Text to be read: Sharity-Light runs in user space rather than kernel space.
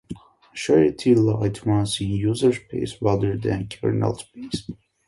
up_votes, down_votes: 2, 0